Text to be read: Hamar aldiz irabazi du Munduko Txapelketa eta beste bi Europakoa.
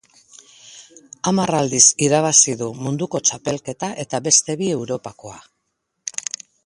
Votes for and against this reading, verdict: 2, 0, accepted